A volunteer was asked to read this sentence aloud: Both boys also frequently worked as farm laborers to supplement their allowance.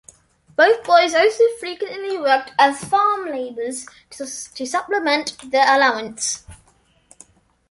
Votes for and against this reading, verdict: 2, 0, accepted